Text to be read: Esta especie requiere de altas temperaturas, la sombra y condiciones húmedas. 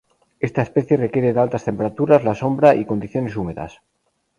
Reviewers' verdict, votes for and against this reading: rejected, 0, 2